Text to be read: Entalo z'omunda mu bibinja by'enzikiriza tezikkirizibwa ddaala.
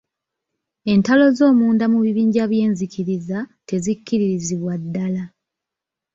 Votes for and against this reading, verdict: 2, 0, accepted